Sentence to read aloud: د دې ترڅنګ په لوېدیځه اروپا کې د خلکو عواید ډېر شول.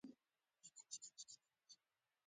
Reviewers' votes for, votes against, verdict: 0, 2, rejected